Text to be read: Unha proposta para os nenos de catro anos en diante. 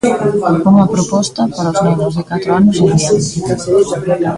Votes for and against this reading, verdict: 0, 2, rejected